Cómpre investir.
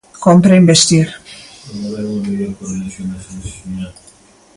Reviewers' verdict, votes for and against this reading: rejected, 0, 2